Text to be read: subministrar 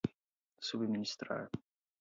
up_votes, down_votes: 0, 4